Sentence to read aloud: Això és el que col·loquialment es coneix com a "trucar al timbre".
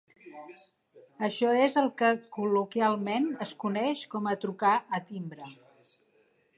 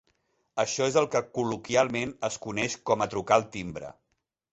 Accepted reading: second